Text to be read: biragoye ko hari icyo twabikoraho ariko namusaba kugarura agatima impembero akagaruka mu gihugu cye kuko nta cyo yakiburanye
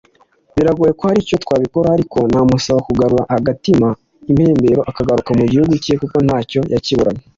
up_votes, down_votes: 2, 0